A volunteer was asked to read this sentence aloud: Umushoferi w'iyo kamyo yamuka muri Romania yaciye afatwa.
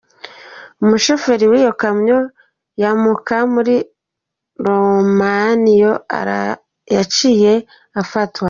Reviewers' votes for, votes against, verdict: 0, 2, rejected